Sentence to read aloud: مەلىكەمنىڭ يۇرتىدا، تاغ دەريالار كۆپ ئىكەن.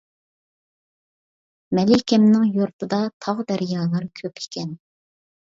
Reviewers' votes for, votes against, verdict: 2, 0, accepted